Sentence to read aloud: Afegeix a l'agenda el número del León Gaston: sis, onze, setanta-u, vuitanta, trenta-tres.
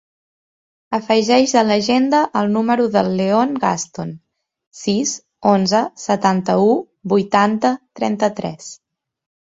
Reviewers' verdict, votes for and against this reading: rejected, 1, 2